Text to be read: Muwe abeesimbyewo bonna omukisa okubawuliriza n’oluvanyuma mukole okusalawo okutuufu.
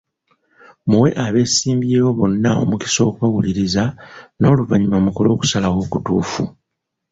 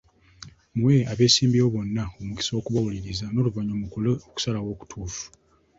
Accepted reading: second